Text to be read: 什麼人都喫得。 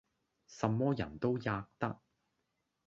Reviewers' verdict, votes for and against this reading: accepted, 2, 0